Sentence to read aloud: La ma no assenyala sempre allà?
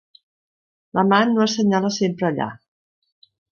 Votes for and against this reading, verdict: 1, 2, rejected